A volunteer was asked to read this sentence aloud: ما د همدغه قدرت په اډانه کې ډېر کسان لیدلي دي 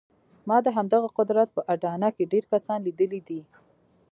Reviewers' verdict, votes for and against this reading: rejected, 0, 2